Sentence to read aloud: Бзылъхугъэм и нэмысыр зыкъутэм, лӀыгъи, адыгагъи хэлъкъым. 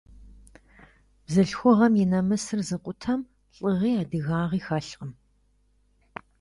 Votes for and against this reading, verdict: 2, 0, accepted